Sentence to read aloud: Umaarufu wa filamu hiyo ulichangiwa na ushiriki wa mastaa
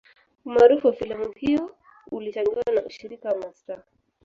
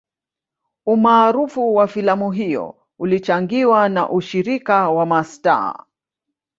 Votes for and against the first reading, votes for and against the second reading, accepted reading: 3, 2, 1, 2, first